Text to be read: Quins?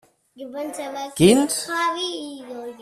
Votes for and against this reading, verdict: 0, 2, rejected